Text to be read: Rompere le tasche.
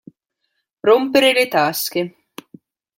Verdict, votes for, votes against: accepted, 2, 0